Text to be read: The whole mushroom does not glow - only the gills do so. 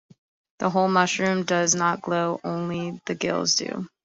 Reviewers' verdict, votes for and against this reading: rejected, 0, 2